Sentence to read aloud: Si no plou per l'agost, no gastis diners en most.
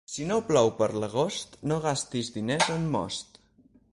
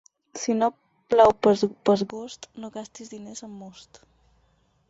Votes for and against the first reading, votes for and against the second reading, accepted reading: 6, 0, 2, 4, first